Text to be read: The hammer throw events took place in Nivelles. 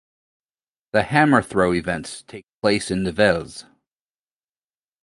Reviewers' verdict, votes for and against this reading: rejected, 0, 2